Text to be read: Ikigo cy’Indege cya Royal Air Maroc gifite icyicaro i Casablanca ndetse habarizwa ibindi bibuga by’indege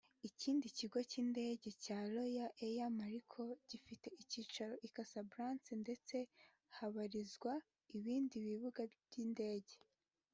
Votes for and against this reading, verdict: 0, 2, rejected